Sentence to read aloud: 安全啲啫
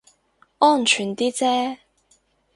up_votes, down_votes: 4, 0